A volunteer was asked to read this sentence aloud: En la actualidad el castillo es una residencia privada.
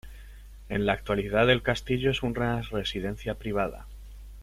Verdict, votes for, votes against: rejected, 0, 2